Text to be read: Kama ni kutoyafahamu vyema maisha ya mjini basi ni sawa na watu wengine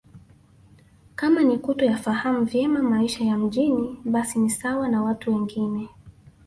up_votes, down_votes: 2, 0